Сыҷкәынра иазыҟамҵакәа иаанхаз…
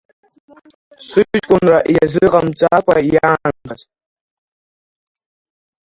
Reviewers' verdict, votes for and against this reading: rejected, 1, 2